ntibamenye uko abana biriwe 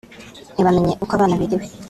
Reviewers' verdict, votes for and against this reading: rejected, 1, 2